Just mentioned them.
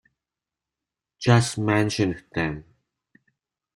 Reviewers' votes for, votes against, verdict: 2, 0, accepted